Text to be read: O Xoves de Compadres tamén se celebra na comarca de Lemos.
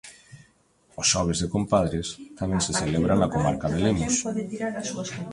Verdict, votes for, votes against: rejected, 1, 2